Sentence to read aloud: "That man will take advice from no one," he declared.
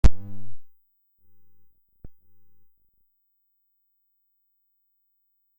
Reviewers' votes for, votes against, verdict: 0, 2, rejected